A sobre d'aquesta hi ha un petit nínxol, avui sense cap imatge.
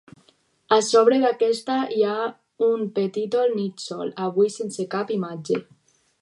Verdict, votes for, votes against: rejected, 2, 4